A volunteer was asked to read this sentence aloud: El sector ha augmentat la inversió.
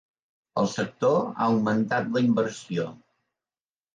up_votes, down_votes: 3, 0